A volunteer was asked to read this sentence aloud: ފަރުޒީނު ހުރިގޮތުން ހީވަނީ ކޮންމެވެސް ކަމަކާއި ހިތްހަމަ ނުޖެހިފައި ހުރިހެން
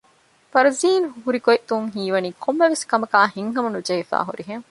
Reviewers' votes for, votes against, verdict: 0, 2, rejected